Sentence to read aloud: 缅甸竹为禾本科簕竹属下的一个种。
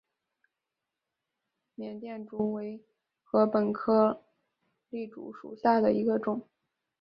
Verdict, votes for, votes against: accepted, 3, 0